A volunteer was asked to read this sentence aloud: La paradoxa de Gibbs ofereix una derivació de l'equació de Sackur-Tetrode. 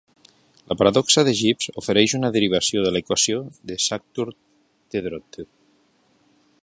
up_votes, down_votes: 1, 2